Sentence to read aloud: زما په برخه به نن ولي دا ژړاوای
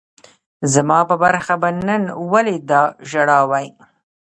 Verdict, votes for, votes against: rejected, 0, 2